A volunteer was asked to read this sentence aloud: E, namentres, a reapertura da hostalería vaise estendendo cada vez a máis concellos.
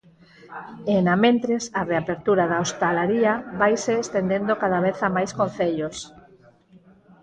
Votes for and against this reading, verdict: 2, 4, rejected